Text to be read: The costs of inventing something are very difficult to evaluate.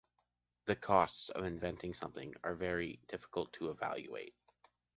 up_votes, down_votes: 2, 0